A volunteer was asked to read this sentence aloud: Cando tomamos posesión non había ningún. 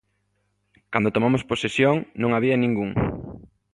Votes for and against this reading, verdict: 2, 0, accepted